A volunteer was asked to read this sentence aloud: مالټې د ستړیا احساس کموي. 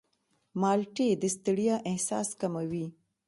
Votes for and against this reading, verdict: 2, 0, accepted